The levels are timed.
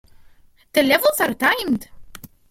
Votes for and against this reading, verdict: 2, 0, accepted